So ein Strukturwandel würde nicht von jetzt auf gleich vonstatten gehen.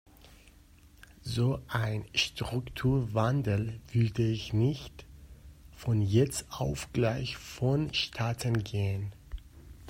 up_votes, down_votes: 0, 2